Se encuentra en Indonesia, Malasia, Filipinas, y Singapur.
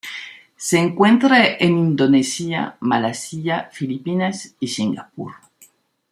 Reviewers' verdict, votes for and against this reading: accepted, 2, 0